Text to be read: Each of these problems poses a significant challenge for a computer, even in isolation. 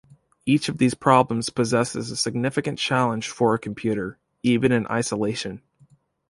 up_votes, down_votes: 1, 2